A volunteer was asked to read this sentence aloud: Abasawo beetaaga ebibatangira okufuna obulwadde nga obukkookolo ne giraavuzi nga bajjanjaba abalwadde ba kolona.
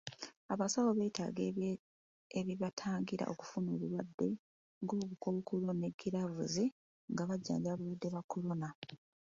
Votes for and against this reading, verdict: 2, 1, accepted